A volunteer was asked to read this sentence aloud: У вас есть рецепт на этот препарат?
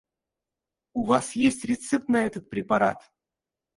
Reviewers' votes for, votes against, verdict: 0, 4, rejected